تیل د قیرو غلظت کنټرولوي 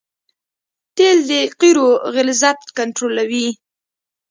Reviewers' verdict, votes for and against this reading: accepted, 2, 0